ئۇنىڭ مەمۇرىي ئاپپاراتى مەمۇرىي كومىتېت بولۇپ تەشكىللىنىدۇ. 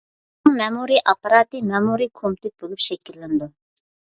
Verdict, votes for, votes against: rejected, 0, 2